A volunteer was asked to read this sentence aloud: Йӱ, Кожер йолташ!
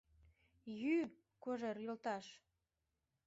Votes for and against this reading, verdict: 2, 1, accepted